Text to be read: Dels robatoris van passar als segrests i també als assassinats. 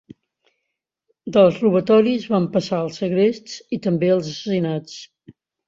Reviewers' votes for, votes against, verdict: 2, 0, accepted